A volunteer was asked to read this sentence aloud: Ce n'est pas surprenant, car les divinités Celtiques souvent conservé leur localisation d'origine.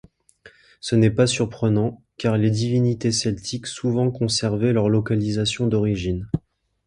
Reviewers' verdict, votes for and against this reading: accepted, 2, 0